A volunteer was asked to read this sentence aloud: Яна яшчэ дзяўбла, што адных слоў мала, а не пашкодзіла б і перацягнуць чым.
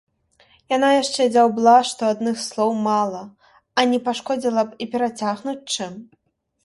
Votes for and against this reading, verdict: 1, 2, rejected